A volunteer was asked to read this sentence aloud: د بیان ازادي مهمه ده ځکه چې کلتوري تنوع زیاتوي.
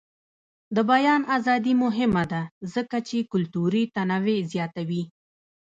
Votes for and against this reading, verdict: 1, 2, rejected